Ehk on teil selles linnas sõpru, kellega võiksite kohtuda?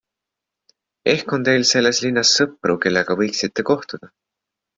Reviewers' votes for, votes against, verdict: 3, 0, accepted